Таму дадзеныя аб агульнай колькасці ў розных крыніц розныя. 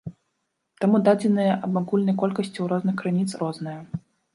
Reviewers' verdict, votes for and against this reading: rejected, 0, 2